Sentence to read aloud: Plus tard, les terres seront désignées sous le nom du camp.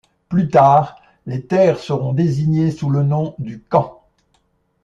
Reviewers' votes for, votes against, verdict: 2, 0, accepted